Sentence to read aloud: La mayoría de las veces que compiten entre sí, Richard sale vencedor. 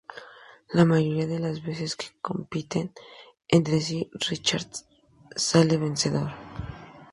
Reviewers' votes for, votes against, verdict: 2, 2, rejected